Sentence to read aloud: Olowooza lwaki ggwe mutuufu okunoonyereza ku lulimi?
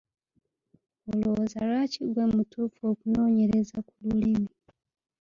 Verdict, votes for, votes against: accepted, 2, 1